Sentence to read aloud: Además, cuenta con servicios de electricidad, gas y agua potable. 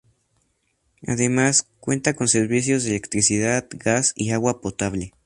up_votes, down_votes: 2, 0